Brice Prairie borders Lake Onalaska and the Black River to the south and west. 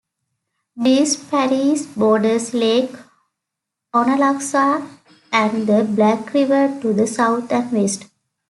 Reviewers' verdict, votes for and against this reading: rejected, 1, 2